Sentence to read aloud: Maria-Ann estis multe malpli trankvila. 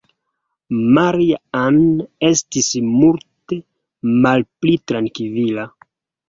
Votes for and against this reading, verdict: 1, 2, rejected